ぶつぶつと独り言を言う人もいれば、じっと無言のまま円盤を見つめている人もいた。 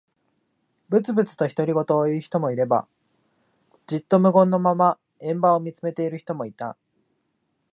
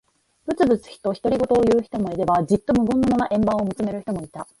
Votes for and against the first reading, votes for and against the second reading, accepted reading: 2, 0, 1, 2, first